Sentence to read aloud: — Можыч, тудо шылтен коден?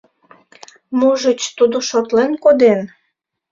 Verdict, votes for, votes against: rejected, 1, 2